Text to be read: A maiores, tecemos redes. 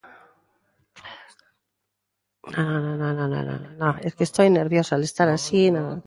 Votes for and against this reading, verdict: 0, 2, rejected